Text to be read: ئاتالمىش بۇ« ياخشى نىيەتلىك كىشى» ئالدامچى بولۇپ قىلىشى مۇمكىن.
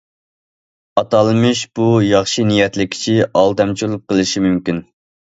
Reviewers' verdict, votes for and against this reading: rejected, 1, 2